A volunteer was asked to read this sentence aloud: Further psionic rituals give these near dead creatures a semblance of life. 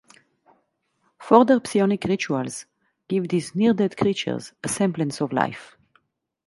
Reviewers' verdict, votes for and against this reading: rejected, 0, 2